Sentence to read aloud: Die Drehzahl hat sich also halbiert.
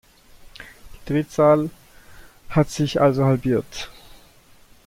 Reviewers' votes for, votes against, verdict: 1, 2, rejected